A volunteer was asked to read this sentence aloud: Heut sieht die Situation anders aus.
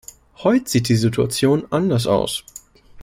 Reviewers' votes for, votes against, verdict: 2, 0, accepted